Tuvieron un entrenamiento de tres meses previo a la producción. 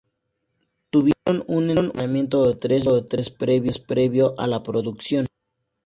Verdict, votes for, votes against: accepted, 2, 0